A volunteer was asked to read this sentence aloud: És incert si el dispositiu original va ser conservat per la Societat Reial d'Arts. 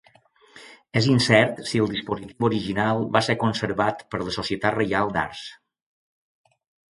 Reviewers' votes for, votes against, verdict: 0, 2, rejected